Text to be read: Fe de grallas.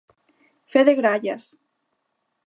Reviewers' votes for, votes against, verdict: 2, 0, accepted